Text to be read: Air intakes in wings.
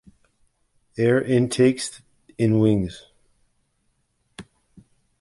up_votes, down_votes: 2, 0